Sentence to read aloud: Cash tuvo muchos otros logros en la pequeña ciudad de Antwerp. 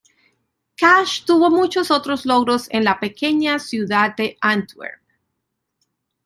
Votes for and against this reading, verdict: 2, 0, accepted